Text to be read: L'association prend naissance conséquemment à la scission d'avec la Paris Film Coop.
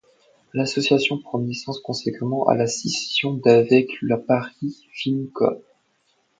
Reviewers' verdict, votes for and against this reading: accepted, 2, 1